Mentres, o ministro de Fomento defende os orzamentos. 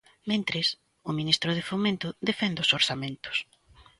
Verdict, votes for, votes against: accepted, 4, 0